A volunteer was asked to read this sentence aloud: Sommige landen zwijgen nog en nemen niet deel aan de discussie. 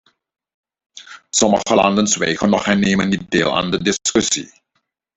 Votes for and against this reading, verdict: 2, 0, accepted